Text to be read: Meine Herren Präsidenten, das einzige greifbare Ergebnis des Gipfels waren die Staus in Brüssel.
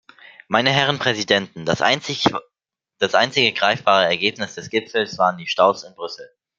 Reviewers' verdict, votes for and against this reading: rejected, 0, 2